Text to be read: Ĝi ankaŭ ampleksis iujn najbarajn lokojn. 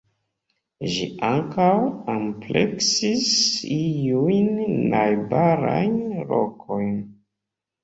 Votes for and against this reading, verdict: 1, 2, rejected